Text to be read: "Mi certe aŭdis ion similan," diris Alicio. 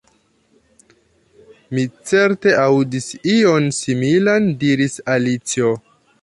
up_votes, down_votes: 2, 1